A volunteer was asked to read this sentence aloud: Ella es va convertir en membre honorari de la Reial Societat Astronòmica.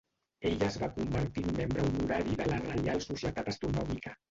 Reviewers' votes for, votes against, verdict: 1, 2, rejected